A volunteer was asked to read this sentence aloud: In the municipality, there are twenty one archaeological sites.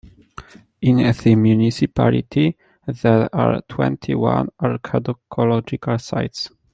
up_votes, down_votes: 0, 2